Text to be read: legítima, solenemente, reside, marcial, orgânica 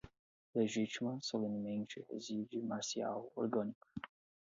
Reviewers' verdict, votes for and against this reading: rejected, 0, 4